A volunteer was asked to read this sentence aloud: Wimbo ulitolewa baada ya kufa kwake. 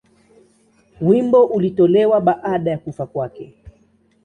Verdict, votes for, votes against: accepted, 2, 0